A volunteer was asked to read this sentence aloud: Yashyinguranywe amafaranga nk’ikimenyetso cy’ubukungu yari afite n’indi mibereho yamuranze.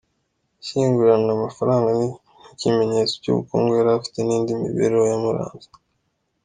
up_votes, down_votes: 2, 0